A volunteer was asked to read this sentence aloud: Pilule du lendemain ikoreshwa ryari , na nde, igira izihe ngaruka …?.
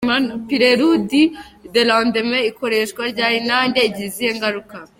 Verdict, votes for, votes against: rejected, 0, 2